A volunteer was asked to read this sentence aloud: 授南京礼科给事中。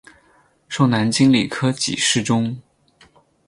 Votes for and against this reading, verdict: 10, 0, accepted